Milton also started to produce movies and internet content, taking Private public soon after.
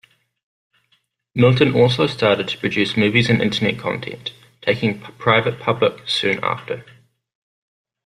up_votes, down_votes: 0, 2